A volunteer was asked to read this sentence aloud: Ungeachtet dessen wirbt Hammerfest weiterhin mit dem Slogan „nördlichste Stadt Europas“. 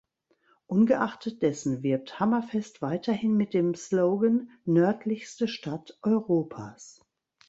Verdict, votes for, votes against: accepted, 2, 0